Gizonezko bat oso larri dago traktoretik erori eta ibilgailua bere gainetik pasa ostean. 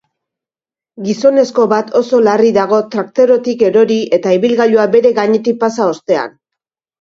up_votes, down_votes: 2, 0